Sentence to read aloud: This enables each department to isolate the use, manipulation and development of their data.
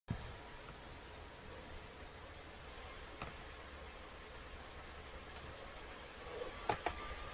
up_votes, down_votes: 0, 2